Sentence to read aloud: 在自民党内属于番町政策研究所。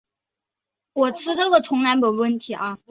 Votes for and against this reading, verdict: 1, 2, rejected